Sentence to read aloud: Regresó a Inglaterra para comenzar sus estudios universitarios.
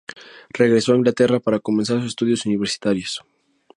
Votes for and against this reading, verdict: 2, 0, accepted